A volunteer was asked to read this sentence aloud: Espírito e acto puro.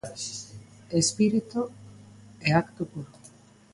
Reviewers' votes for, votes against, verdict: 2, 0, accepted